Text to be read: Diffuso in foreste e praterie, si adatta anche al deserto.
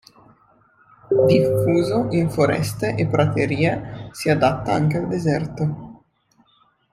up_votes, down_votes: 0, 2